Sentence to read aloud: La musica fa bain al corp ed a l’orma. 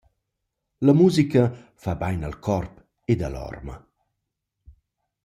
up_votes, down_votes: 2, 0